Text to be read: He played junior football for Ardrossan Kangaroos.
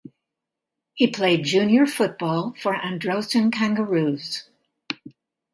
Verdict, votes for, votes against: rejected, 1, 2